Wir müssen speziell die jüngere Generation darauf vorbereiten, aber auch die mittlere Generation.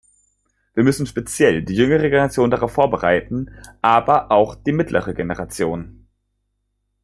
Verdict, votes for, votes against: accepted, 2, 0